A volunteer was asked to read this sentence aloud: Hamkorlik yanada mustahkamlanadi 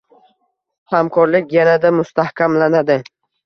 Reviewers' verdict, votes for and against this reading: accepted, 2, 0